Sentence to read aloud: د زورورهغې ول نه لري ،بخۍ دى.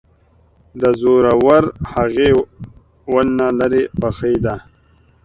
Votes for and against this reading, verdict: 1, 2, rejected